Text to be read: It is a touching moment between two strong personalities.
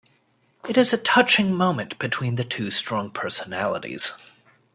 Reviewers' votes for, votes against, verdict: 1, 2, rejected